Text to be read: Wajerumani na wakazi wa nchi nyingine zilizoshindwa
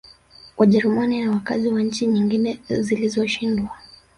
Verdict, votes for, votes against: accepted, 4, 3